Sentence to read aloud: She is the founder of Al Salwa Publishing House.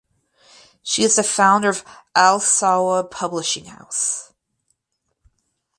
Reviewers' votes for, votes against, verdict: 6, 0, accepted